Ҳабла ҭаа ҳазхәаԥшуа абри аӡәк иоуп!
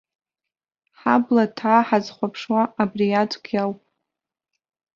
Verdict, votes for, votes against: rejected, 0, 2